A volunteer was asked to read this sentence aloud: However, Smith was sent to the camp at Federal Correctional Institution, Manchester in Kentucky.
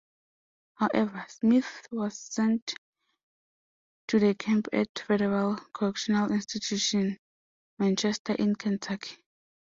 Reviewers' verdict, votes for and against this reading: accepted, 2, 0